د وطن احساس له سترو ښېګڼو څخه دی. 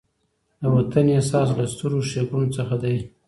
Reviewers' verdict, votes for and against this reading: accepted, 2, 0